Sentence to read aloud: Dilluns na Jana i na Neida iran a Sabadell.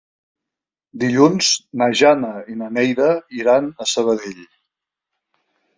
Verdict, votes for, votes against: accepted, 3, 0